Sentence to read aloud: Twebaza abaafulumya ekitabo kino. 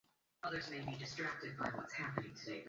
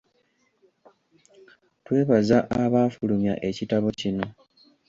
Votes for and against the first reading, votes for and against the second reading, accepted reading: 0, 2, 2, 0, second